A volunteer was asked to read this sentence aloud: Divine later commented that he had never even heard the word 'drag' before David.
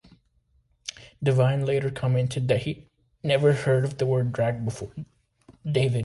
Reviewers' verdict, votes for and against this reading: rejected, 1, 2